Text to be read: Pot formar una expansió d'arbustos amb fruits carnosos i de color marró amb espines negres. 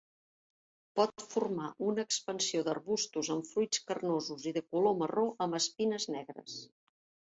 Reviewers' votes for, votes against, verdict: 4, 0, accepted